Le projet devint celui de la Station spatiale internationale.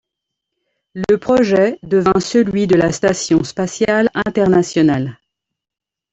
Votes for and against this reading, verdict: 2, 0, accepted